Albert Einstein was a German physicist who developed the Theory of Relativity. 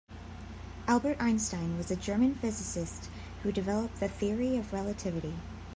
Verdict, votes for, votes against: accepted, 2, 0